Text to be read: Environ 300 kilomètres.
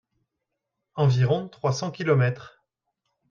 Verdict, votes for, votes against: rejected, 0, 2